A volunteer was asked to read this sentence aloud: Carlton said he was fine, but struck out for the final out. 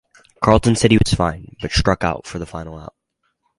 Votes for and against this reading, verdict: 2, 0, accepted